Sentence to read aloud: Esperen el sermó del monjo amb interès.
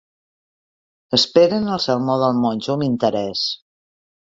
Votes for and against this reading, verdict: 2, 0, accepted